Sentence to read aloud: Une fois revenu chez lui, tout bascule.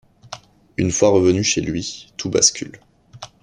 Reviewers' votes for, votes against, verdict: 2, 0, accepted